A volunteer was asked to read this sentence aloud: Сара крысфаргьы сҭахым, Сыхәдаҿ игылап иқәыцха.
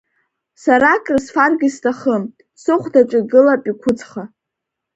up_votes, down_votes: 2, 0